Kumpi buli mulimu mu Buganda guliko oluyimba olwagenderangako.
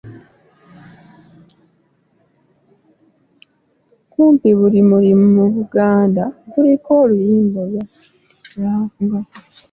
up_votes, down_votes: 0, 2